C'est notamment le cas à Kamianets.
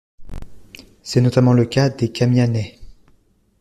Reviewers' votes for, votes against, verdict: 1, 2, rejected